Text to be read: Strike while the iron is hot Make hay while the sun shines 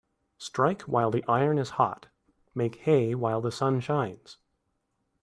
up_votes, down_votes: 2, 0